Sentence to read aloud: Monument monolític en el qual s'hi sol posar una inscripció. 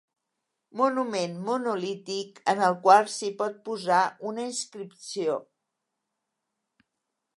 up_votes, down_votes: 0, 2